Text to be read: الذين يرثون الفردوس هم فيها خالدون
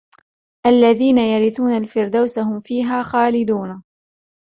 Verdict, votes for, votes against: accepted, 2, 1